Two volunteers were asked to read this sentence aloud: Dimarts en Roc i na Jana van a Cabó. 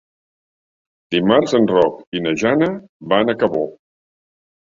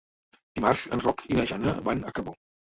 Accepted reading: first